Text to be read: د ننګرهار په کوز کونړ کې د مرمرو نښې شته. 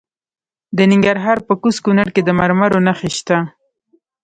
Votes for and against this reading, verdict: 1, 2, rejected